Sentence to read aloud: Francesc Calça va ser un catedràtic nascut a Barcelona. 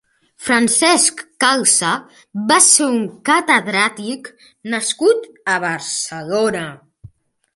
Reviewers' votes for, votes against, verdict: 2, 1, accepted